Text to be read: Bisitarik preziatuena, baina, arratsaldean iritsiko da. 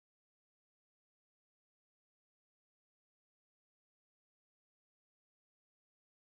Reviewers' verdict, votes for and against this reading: rejected, 0, 2